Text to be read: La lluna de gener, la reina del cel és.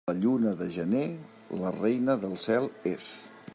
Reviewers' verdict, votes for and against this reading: accepted, 3, 0